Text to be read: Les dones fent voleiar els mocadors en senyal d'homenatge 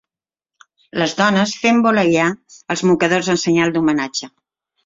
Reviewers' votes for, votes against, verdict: 2, 0, accepted